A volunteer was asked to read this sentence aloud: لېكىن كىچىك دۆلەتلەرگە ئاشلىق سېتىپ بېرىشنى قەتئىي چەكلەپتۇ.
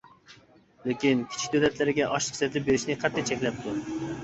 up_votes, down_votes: 1, 2